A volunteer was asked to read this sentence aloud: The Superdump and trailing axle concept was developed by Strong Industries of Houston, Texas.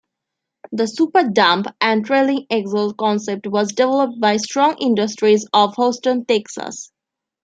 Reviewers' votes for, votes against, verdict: 0, 2, rejected